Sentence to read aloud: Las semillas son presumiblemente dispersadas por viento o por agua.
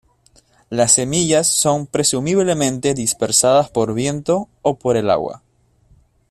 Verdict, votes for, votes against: rejected, 0, 2